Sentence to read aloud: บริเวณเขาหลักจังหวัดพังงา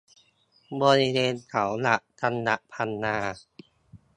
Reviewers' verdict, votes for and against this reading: rejected, 1, 2